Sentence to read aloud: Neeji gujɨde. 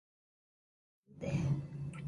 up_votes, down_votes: 0, 2